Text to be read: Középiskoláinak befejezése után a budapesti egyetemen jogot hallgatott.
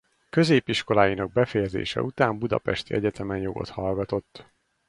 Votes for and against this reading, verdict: 0, 4, rejected